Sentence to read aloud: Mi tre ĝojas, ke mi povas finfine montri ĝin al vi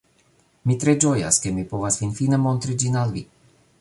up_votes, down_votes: 2, 0